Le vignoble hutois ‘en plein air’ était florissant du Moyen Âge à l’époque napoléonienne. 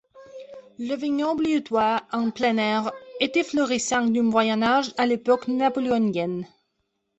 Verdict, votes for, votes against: accepted, 2, 1